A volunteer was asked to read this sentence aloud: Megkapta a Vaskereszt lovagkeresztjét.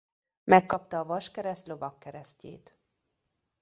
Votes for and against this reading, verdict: 2, 1, accepted